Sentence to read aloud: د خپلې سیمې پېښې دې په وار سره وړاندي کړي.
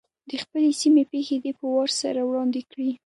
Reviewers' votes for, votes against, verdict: 2, 1, accepted